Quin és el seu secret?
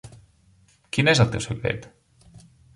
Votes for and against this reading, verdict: 1, 2, rejected